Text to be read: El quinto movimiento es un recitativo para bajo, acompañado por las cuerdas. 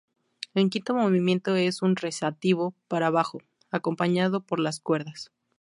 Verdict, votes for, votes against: rejected, 0, 2